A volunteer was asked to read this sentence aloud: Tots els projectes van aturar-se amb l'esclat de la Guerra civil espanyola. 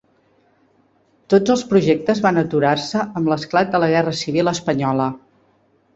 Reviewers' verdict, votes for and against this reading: accepted, 3, 0